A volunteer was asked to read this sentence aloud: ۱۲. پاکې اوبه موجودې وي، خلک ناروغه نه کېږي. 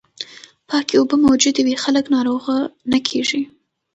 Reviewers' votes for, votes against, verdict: 0, 2, rejected